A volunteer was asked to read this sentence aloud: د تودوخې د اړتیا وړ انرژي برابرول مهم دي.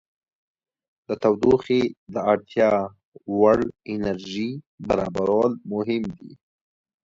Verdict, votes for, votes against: accepted, 2, 0